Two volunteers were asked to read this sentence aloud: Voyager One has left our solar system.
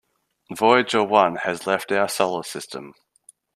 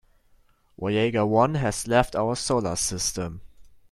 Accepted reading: first